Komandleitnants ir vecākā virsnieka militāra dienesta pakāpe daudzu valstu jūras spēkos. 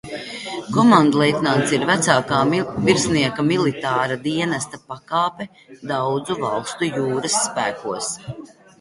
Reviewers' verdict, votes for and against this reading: rejected, 0, 2